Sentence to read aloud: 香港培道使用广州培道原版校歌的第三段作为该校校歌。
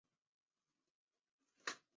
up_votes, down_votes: 2, 7